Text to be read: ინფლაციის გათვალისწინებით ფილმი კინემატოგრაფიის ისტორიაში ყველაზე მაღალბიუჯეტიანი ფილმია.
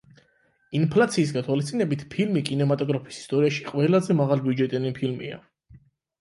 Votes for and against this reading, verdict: 8, 0, accepted